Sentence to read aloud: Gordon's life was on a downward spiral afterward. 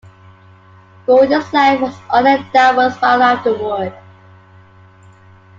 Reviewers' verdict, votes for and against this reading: accepted, 2, 1